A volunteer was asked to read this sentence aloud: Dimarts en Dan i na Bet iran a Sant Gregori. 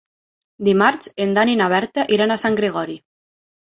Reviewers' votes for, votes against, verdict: 3, 6, rejected